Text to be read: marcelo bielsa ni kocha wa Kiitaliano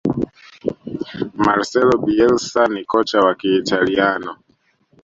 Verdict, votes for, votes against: accepted, 2, 0